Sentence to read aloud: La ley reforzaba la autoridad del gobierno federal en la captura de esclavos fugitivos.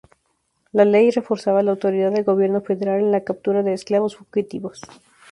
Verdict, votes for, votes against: accepted, 4, 0